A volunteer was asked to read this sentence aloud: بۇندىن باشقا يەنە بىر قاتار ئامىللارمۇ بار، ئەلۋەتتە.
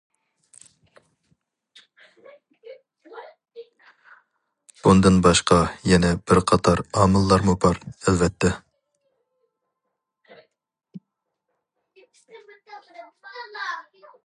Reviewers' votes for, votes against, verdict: 0, 2, rejected